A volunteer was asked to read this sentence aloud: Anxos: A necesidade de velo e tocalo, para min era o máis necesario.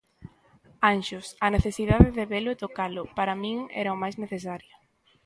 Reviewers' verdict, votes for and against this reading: accepted, 2, 0